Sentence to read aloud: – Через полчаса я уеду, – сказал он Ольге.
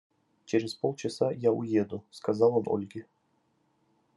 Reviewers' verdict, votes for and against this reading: accepted, 2, 1